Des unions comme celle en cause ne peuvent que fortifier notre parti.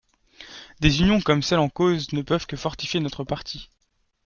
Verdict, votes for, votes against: accepted, 2, 0